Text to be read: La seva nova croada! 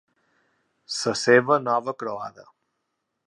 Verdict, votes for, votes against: rejected, 1, 2